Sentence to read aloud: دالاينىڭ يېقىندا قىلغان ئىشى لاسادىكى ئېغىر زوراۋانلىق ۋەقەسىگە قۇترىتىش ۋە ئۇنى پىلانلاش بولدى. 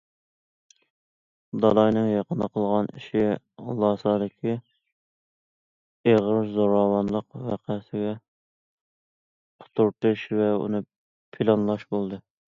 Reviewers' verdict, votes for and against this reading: accepted, 2, 0